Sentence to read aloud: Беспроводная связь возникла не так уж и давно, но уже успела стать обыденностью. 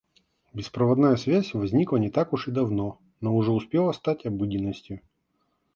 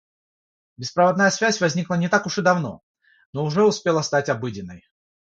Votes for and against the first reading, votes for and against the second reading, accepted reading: 2, 0, 0, 6, first